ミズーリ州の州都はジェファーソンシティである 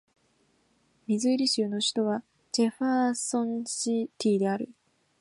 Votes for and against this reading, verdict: 1, 3, rejected